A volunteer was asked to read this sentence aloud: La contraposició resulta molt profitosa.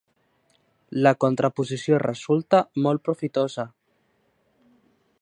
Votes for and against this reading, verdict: 4, 0, accepted